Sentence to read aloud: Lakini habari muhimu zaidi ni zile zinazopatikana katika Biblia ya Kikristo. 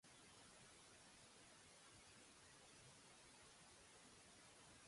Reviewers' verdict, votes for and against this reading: rejected, 0, 2